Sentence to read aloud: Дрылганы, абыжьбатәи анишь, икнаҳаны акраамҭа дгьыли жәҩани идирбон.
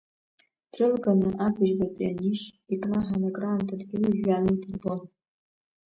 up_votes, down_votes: 2, 0